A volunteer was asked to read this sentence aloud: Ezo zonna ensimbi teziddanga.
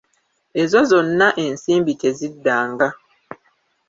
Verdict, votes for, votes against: rejected, 0, 2